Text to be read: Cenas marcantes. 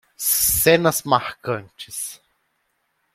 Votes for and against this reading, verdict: 1, 2, rejected